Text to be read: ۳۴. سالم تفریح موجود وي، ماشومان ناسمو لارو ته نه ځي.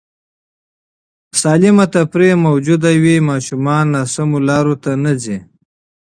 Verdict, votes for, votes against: rejected, 0, 2